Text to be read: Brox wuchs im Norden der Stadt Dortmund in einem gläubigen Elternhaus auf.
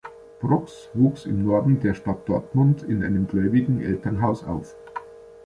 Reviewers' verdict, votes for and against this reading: accepted, 2, 0